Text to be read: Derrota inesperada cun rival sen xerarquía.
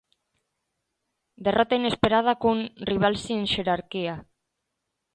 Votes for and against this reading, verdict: 0, 2, rejected